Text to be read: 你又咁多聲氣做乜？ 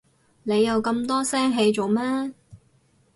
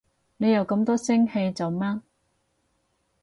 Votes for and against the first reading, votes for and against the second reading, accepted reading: 2, 2, 4, 0, second